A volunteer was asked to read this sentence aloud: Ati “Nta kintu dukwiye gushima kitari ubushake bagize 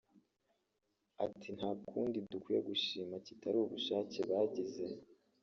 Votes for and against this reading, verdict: 0, 2, rejected